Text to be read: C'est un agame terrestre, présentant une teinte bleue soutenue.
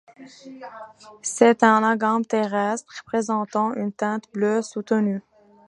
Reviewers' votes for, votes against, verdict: 2, 0, accepted